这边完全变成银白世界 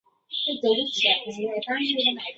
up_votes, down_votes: 0, 4